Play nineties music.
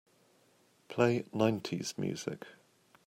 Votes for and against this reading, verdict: 2, 0, accepted